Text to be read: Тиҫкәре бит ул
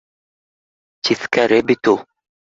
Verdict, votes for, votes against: accepted, 2, 0